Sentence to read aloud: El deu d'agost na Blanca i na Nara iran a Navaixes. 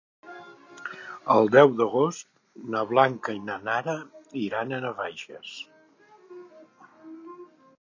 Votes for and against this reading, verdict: 4, 0, accepted